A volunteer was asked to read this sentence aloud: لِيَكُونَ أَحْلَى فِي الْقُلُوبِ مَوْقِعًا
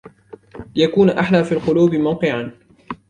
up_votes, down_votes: 2, 1